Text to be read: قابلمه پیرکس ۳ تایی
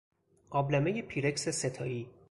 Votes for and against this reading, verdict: 0, 2, rejected